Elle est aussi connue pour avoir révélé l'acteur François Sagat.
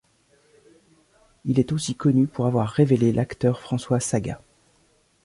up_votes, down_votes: 0, 2